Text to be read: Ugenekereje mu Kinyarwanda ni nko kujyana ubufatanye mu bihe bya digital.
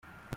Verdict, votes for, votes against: rejected, 0, 2